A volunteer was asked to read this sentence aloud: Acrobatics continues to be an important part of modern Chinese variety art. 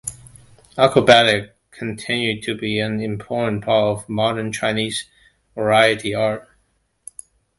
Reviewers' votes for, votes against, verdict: 0, 2, rejected